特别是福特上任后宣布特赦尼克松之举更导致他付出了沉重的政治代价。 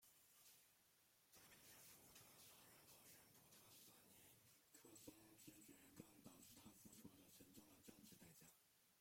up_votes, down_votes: 0, 2